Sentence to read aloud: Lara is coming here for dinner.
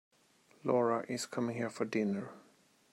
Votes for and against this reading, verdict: 0, 2, rejected